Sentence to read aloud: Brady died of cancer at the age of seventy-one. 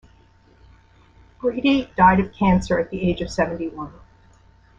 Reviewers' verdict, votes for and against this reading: rejected, 1, 2